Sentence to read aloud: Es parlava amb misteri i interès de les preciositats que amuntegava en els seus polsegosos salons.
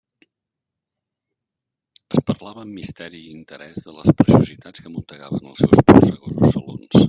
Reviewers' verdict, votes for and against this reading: rejected, 1, 2